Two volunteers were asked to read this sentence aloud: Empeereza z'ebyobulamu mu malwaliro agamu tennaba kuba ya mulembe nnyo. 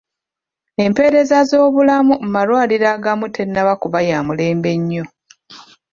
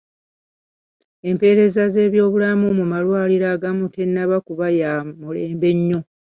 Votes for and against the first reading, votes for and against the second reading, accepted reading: 0, 2, 2, 0, second